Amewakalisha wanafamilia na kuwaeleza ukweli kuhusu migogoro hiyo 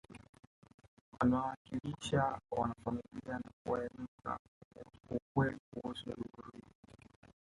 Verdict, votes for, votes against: rejected, 0, 2